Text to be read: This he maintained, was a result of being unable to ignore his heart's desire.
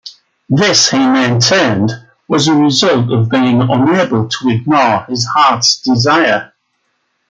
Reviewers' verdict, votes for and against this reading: rejected, 1, 2